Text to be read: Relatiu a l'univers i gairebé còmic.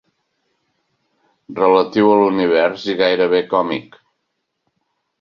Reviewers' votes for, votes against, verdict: 4, 0, accepted